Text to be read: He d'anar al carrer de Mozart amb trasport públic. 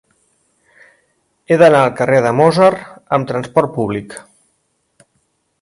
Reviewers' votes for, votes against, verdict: 2, 1, accepted